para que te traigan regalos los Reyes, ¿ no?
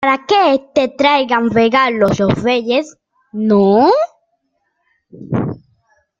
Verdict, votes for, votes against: rejected, 0, 2